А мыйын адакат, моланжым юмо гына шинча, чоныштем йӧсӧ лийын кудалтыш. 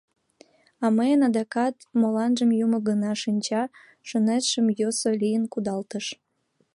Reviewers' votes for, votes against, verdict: 2, 0, accepted